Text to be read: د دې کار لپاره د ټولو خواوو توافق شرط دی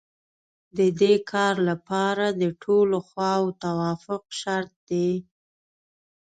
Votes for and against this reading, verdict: 2, 0, accepted